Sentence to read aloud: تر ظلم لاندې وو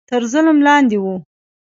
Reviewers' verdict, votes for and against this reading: rejected, 1, 2